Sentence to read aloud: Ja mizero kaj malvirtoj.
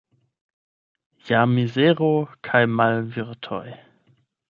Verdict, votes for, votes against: rejected, 0, 8